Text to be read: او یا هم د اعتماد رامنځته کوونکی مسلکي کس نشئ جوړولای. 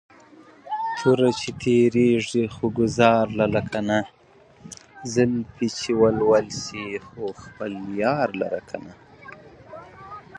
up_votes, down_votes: 0, 2